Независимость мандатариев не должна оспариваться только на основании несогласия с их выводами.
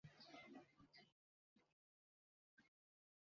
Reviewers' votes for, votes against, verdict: 0, 2, rejected